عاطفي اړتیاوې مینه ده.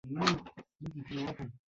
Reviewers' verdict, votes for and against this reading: rejected, 0, 2